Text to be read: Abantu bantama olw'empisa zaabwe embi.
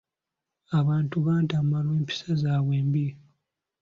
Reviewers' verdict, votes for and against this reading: accepted, 2, 0